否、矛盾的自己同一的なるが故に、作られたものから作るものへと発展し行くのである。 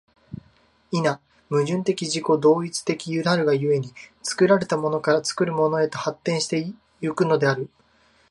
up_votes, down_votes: 2, 1